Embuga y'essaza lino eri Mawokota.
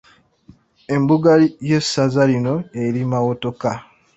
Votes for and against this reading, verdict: 2, 1, accepted